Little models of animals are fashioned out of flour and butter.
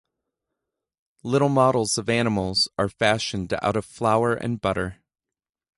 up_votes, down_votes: 2, 0